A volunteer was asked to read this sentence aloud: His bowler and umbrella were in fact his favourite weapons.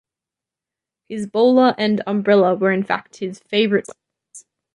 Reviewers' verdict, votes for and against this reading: rejected, 0, 2